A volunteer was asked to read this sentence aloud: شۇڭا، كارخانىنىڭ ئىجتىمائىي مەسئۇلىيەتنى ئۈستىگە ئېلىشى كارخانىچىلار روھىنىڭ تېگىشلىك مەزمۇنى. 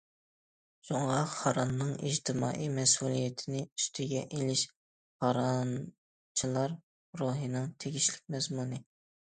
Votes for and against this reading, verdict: 0, 2, rejected